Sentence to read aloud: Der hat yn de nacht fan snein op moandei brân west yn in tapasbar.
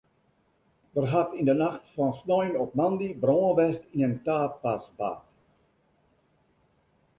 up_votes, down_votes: 0, 2